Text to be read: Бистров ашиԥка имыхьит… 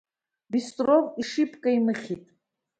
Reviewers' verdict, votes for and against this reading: rejected, 1, 2